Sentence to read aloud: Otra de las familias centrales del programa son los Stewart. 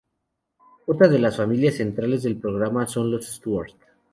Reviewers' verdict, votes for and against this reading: rejected, 2, 2